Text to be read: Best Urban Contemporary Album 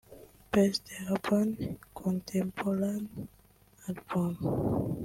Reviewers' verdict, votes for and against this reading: accepted, 3, 2